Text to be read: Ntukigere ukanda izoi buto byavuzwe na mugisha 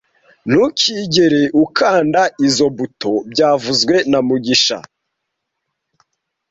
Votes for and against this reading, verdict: 1, 2, rejected